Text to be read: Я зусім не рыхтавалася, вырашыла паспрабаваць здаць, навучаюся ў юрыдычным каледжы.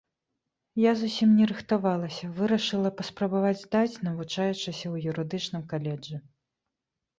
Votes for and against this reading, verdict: 0, 2, rejected